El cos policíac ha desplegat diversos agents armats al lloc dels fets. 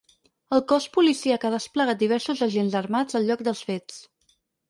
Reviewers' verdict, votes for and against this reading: accepted, 4, 0